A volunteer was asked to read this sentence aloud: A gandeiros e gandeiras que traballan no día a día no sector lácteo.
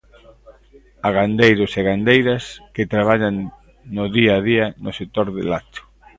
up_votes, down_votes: 0, 2